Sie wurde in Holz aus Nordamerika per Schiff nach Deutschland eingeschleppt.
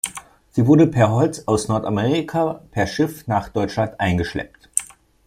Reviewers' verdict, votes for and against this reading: rejected, 1, 2